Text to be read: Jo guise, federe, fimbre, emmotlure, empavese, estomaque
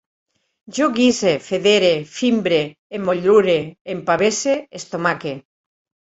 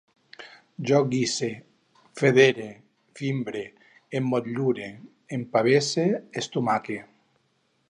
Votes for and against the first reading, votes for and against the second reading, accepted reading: 4, 1, 2, 2, first